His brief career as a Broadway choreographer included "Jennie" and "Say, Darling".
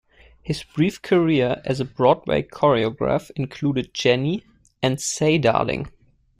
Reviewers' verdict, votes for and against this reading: rejected, 1, 2